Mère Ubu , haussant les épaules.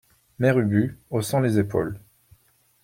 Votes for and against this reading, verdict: 2, 0, accepted